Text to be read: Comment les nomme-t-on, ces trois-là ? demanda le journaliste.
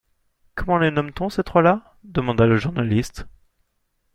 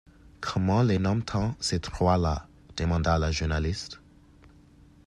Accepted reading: first